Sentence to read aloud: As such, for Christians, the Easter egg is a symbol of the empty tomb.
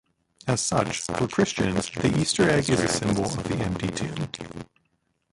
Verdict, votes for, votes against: rejected, 1, 2